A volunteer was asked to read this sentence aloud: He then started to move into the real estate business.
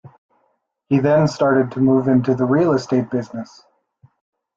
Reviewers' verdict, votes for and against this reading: accepted, 2, 0